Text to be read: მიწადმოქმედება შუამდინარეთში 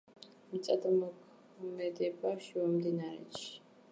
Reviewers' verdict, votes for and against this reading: rejected, 0, 2